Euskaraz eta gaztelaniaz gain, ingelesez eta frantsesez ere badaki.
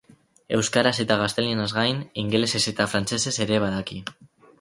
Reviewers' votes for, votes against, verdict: 2, 0, accepted